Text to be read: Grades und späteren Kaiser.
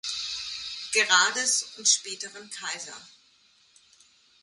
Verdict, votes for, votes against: rejected, 0, 2